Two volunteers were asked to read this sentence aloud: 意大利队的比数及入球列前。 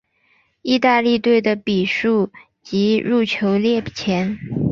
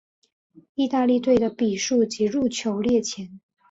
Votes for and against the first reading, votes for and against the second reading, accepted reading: 2, 0, 1, 2, first